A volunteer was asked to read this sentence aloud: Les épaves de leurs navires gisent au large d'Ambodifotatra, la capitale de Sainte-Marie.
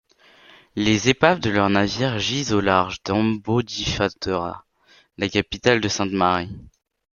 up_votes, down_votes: 0, 2